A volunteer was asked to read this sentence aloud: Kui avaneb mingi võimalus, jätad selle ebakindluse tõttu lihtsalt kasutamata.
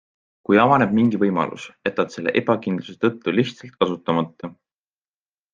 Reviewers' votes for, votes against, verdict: 2, 0, accepted